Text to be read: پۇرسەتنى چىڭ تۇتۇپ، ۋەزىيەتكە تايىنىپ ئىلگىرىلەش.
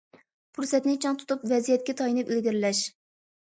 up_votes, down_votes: 2, 0